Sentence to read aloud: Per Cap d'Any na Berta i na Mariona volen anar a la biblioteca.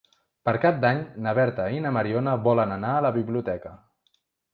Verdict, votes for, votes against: accepted, 3, 0